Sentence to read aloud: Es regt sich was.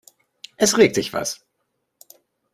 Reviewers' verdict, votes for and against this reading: accepted, 2, 0